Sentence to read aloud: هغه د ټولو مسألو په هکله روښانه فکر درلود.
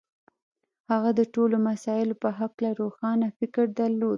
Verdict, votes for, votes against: rejected, 1, 2